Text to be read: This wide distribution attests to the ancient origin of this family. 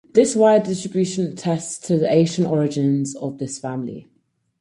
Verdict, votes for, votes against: accepted, 4, 0